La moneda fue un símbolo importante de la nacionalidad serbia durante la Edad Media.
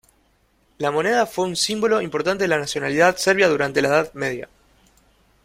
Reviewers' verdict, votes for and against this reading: accepted, 2, 0